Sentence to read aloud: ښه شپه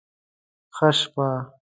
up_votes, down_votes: 2, 0